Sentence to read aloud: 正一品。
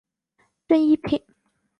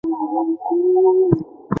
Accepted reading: first